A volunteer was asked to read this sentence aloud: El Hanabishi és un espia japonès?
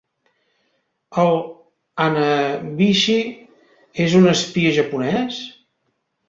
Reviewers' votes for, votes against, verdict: 1, 2, rejected